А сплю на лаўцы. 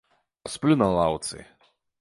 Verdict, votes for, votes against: accepted, 2, 0